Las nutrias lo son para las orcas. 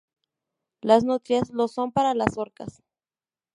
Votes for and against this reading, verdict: 2, 0, accepted